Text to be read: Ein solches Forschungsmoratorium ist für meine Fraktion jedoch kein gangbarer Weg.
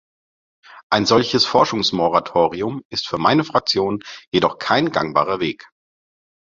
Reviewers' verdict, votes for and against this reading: accepted, 2, 0